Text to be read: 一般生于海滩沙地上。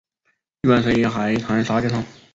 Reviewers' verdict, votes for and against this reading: rejected, 0, 2